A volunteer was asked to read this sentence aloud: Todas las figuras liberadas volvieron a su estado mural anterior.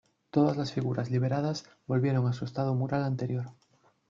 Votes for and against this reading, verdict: 0, 2, rejected